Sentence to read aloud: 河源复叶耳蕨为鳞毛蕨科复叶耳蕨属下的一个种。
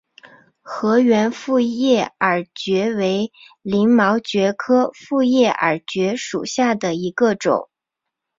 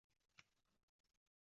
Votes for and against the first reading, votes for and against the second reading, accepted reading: 4, 0, 0, 2, first